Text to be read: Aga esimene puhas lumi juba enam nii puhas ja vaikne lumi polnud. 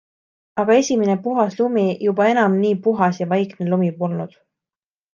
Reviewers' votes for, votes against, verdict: 2, 0, accepted